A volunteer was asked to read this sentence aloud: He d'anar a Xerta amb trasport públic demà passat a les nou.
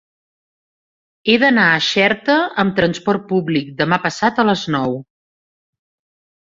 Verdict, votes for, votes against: accepted, 3, 0